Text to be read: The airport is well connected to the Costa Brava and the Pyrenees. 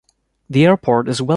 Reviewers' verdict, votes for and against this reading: rejected, 1, 2